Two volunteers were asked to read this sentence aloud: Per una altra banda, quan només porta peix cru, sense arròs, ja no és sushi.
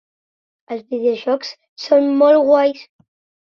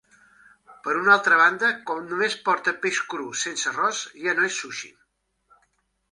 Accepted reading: second